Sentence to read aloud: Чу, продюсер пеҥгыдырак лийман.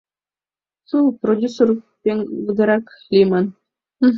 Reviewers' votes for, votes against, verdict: 2, 3, rejected